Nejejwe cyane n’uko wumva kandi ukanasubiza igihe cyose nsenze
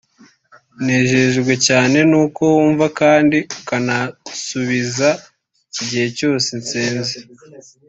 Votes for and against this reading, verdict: 2, 0, accepted